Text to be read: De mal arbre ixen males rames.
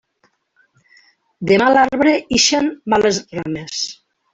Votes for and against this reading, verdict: 1, 2, rejected